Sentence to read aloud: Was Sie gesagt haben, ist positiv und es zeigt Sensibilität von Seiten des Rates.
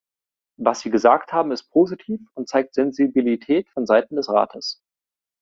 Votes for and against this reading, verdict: 0, 2, rejected